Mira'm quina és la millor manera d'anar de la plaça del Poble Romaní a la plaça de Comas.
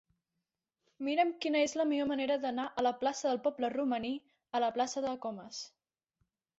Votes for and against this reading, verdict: 0, 2, rejected